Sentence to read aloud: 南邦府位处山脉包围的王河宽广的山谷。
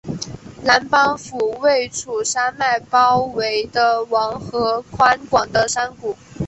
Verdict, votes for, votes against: accepted, 3, 0